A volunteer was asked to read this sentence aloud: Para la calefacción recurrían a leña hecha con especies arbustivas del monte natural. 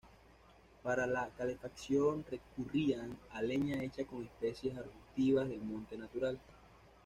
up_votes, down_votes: 1, 2